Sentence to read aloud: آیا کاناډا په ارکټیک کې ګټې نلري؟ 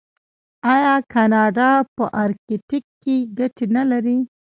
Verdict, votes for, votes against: accepted, 2, 1